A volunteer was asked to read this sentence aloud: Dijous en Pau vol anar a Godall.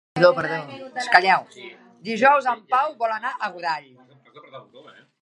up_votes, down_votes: 0, 2